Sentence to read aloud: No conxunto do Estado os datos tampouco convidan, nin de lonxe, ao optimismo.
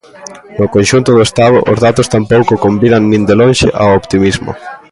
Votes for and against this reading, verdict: 2, 0, accepted